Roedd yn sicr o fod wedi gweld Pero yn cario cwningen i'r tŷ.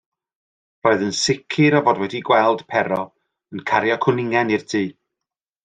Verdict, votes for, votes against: accepted, 2, 0